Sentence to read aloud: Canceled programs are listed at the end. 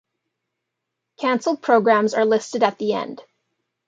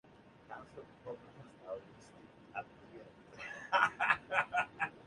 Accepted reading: first